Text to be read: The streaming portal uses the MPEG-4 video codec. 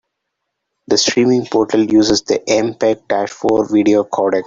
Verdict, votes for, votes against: rejected, 0, 2